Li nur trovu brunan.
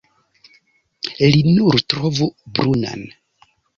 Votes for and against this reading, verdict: 0, 2, rejected